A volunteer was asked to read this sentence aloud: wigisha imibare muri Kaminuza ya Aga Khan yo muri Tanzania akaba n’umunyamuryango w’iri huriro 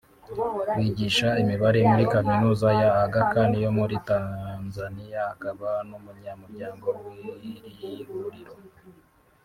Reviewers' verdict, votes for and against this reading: rejected, 0, 2